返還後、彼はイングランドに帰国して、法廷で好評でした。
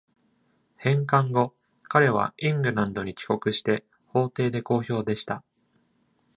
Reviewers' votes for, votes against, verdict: 2, 0, accepted